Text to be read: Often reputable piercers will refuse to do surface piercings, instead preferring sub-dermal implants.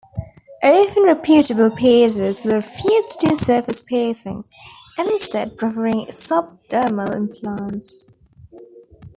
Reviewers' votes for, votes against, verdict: 1, 2, rejected